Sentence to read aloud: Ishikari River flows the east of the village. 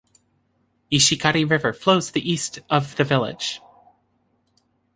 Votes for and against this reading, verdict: 2, 0, accepted